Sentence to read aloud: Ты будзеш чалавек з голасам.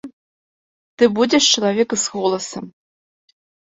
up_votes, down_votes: 2, 0